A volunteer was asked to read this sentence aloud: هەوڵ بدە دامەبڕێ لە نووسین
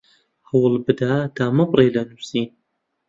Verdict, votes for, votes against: accepted, 2, 0